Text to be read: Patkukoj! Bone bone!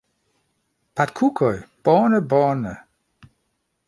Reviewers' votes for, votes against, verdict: 0, 2, rejected